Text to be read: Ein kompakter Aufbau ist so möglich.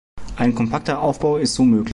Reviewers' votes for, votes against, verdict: 0, 2, rejected